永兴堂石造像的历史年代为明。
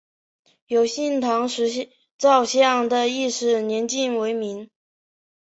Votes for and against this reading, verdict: 4, 1, accepted